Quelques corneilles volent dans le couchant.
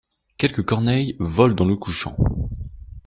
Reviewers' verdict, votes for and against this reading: accepted, 2, 0